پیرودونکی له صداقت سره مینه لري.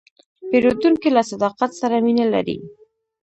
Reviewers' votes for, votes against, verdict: 0, 2, rejected